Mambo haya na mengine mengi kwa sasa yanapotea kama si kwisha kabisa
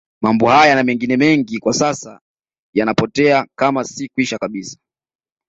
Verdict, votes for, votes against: accepted, 2, 0